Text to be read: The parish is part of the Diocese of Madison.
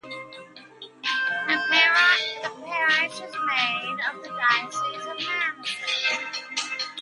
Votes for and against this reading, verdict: 0, 2, rejected